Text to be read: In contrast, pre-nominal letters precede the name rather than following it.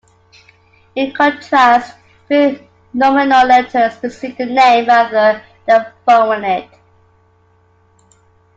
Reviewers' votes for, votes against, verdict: 2, 0, accepted